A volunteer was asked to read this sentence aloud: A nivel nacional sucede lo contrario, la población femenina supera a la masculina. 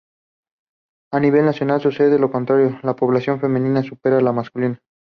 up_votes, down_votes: 2, 0